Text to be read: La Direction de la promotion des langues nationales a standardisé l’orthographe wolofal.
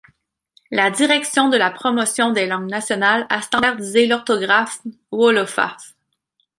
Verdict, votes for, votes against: rejected, 1, 2